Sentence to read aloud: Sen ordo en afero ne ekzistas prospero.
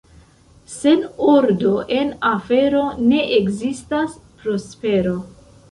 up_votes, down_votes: 0, 2